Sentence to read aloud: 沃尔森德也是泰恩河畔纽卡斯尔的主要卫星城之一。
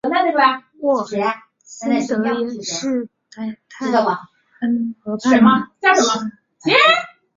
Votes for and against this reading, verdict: 1, 4, rejected